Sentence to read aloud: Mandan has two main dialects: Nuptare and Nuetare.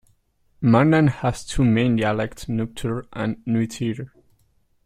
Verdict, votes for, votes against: accepted, 2, 0